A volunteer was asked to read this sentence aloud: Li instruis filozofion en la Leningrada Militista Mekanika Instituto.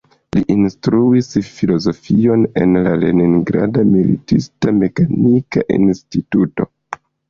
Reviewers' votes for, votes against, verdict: 2, 1, accepted